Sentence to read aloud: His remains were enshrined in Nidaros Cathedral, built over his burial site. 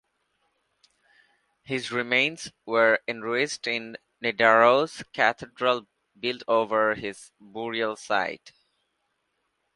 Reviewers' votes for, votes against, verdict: 0, 2, rejected